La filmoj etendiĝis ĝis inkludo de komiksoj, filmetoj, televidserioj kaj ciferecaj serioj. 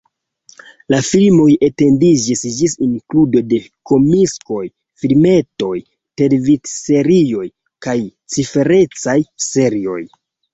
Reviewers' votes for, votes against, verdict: 1, 2, rejected